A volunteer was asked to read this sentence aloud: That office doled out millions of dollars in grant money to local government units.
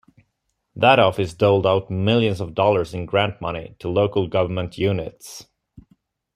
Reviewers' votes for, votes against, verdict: 2, 0, accepted